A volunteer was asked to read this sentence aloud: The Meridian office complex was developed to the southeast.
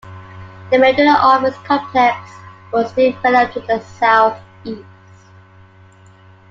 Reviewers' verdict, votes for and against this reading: rejected, 1, 2